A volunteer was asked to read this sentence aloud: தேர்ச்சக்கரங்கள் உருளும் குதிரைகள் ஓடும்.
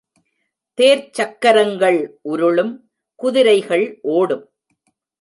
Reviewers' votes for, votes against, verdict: 1, 2, rejected